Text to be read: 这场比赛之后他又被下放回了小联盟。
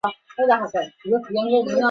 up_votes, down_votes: 0, 2